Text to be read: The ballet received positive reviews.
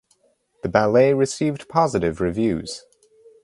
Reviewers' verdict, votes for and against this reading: accepted, 4, 0